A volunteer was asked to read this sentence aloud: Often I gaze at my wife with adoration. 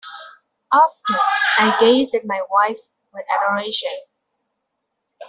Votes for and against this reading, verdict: 0, 2, rejected